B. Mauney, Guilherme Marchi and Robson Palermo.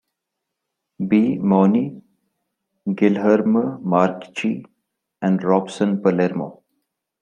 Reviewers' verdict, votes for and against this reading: rejected, 0, 2